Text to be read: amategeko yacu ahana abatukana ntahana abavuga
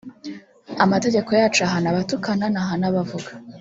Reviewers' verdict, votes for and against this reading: rejected, 1, 2